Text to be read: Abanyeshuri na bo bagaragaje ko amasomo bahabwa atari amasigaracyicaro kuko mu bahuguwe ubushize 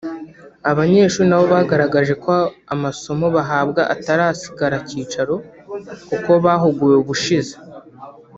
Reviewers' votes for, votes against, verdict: 0, 2, rejected